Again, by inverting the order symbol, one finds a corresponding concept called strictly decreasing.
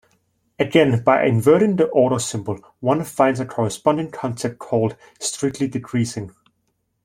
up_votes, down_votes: 2, 0